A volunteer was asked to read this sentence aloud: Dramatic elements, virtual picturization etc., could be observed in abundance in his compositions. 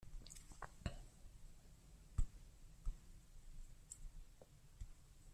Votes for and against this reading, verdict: 0, 2, rejected